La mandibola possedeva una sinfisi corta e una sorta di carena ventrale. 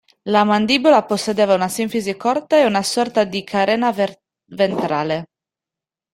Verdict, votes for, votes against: rejected, 1, 2